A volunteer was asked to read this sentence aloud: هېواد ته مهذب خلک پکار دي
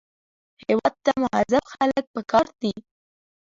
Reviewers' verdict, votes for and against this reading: rejected, 1, 2